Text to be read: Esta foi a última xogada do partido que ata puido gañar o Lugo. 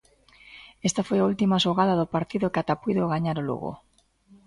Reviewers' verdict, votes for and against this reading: accepted, 2, 0